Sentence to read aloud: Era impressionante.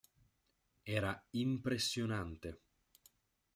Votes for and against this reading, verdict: 2, 0, accepted